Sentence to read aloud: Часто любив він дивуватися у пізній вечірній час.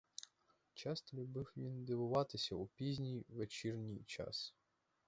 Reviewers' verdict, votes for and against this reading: accepted, 4, 2